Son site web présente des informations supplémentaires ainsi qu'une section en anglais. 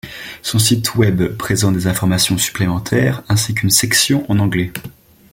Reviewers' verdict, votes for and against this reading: rejected, 1, 2